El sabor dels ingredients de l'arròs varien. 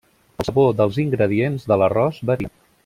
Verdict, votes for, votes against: rejected, 0, 2